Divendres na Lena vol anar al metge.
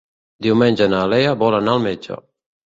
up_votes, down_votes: 0, 2